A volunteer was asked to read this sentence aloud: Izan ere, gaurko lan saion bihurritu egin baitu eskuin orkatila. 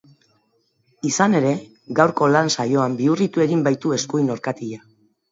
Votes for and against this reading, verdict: 2, 0, accepted